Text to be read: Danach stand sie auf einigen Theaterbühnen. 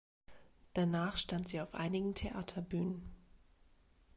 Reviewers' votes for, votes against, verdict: 2, 0, accepted